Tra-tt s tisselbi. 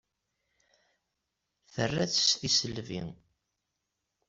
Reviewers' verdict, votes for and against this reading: accepted, 2, 0